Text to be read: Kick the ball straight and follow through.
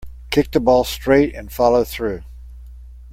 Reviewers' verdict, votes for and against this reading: accepted, 2, 0